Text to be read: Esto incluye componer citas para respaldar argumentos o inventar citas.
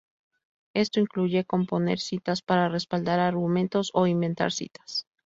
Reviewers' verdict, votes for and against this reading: rejected, 0, 4